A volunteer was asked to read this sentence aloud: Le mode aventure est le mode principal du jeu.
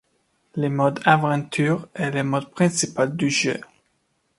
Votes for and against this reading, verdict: 2, 0, accepted